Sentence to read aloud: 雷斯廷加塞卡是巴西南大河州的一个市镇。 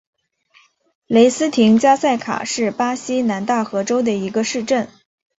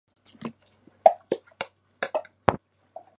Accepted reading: first